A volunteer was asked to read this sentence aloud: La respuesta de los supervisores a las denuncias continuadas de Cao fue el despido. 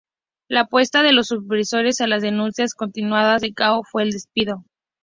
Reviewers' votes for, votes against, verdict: 0, 2, rejected